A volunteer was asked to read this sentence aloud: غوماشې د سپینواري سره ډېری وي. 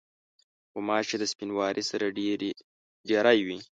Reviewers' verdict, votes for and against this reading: rejected, 1, 2